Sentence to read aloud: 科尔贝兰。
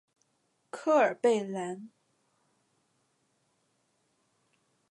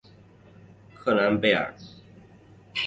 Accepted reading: first